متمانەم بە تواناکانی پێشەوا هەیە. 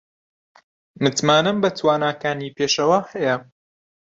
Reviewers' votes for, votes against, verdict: 2, 0, accepted